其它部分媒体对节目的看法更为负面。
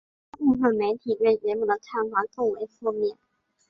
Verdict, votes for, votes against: accepted, 3, 2